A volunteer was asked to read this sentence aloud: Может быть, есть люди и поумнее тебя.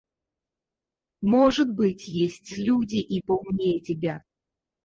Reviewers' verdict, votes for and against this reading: rejected, 0, 4